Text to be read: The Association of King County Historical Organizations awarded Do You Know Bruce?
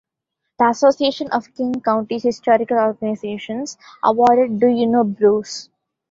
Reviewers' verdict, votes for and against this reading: rejected, 0, 2